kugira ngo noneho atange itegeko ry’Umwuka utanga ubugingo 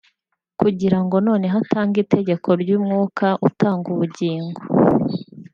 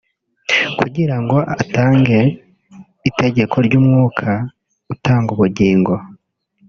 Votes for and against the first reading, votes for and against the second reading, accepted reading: 3, 1, 1, 2, first